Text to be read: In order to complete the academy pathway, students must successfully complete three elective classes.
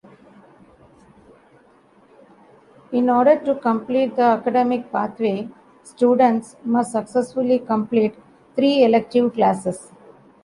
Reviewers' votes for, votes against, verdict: 1, 2, rejected